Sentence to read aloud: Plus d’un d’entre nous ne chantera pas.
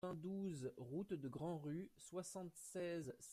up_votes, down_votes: 0, 2